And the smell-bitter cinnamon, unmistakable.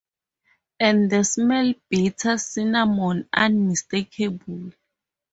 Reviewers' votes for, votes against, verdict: 4, 0, accepted